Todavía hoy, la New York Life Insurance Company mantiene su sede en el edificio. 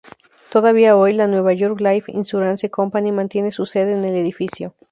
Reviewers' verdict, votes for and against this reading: rejected, 0, 2